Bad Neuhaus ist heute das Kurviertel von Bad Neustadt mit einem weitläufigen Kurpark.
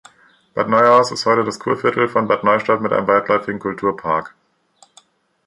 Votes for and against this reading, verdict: 1, 3, rejected